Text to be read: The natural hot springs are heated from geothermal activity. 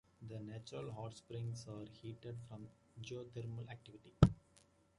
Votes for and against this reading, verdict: 2, 0, accepted